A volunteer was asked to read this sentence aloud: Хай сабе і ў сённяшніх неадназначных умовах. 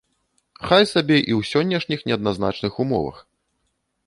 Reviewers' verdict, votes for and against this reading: accepted, 2, 0